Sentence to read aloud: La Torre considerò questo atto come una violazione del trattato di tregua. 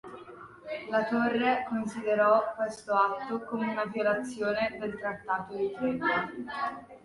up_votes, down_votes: 0, 2